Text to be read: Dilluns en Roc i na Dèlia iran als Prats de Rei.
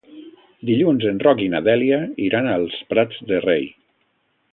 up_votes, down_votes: 2, 0